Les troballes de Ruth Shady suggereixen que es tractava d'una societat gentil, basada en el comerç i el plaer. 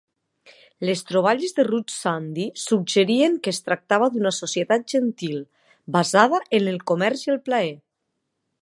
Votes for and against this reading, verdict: 1, 2, rejected